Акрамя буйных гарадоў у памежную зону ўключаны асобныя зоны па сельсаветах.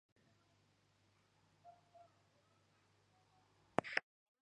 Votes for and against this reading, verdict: 0, 2, rejected